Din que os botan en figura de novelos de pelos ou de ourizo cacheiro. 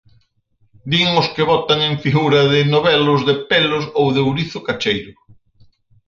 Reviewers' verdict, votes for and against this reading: rejected, 2, 4